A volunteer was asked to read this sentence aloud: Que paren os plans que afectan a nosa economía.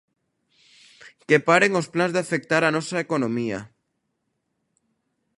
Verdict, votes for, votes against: rejected, 0, 2